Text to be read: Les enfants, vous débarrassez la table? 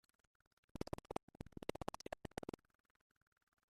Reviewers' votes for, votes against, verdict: 0, 2, rejected